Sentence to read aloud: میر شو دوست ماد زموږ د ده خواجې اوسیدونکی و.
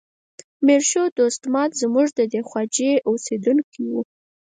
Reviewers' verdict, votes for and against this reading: accepted, 4, 2